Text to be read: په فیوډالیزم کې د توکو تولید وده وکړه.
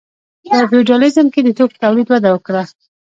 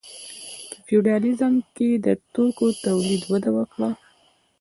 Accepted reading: first